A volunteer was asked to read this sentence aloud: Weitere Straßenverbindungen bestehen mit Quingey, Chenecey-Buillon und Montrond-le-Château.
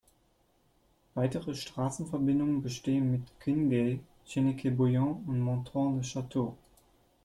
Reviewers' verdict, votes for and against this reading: rejected, 1, 2